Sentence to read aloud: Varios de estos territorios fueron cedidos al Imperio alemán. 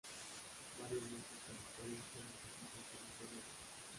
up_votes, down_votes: 0, 2